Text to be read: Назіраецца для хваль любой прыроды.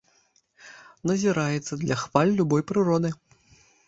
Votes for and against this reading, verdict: 2, 0, accepted